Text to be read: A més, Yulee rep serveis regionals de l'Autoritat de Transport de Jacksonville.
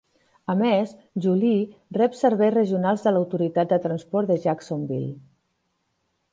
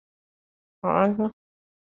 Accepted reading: first